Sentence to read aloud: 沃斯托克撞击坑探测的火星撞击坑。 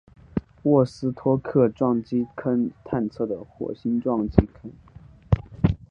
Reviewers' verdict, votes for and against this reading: accepted, 4, 0